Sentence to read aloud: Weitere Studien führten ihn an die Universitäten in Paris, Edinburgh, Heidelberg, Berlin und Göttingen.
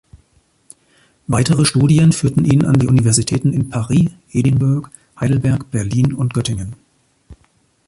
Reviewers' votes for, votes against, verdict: 0, 2, rejected